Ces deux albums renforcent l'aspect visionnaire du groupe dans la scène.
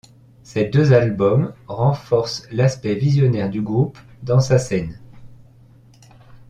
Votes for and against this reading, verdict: 0, 2, rejected